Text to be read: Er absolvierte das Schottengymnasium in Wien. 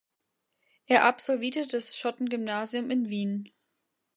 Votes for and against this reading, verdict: 0, 2, rejected